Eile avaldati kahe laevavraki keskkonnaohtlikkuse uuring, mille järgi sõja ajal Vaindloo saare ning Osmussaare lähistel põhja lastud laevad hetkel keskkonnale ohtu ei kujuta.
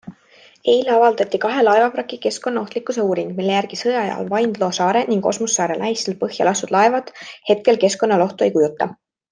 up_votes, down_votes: 2, 0